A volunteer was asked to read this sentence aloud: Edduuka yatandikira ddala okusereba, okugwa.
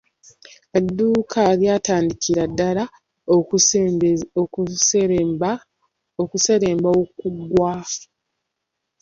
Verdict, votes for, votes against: rejected, 0, 2